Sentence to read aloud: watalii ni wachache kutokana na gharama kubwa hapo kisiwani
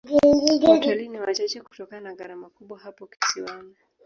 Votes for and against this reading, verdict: 1, 2, rejected